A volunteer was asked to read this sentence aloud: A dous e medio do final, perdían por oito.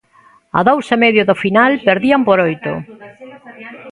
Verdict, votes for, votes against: accepted, 2, 1